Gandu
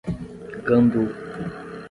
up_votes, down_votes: 5, 10